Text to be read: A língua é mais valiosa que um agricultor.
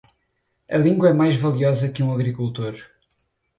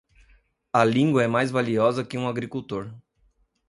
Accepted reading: second